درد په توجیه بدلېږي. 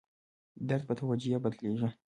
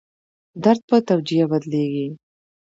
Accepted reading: second